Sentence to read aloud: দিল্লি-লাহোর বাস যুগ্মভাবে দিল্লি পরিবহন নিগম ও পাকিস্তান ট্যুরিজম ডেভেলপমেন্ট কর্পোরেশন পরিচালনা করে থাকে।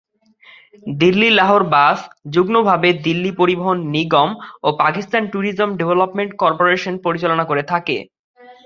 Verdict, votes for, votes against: rejected, 0, 2